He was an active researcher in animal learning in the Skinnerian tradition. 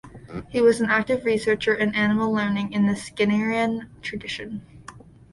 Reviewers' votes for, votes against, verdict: 2, 0, accepted